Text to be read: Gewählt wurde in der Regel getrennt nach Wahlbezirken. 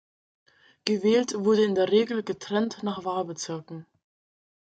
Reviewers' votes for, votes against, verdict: 2, 0, accepted